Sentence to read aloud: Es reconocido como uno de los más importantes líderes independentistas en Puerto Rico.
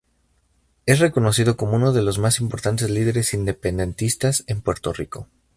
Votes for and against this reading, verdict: 4, 0, accepted